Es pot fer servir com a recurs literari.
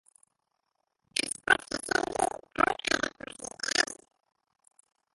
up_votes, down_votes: 0, 3